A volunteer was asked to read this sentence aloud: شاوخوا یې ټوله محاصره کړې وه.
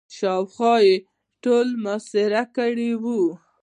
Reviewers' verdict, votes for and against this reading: accepted, 2, 0